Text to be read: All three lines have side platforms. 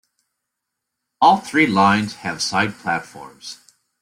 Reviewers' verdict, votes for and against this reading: accepted, 2, 1